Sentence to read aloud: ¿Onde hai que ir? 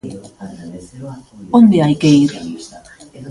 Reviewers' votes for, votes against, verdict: 1, 2, rejected